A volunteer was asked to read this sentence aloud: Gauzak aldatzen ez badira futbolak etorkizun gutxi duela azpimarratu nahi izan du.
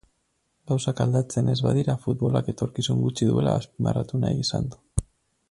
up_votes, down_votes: 2, 2